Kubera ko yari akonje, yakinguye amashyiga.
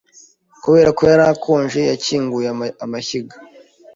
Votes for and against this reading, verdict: 1, 2, rejected